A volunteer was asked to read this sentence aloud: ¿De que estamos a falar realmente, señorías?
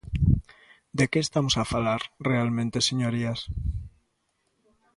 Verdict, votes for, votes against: accepted, 2, 0